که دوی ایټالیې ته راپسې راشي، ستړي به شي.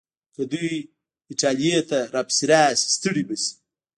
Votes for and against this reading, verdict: 1, 2, rejected